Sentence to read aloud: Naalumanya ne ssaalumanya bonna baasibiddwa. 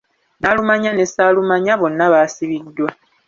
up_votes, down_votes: 2, 0